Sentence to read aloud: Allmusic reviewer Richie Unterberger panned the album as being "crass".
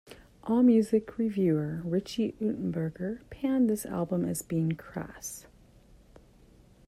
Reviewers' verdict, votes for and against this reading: rejected, 1, 2